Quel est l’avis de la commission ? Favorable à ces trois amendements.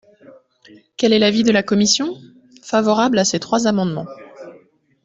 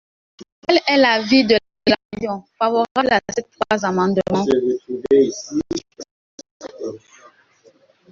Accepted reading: first